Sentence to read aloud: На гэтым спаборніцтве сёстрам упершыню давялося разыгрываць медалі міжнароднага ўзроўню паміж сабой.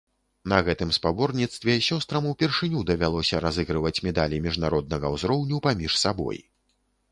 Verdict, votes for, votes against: rejected, 0, 2